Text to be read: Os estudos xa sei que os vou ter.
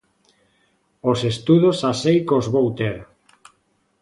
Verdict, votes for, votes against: accepted, 2, 0